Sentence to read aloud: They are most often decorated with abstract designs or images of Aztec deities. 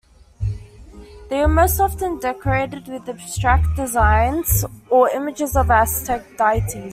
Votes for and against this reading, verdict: 1, 2, rejected